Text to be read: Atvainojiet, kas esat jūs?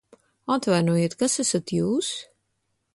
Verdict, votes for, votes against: accepted, 2, 0